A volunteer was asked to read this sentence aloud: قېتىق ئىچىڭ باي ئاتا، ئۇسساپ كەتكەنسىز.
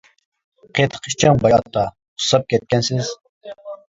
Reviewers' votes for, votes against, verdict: 1, 2, rejected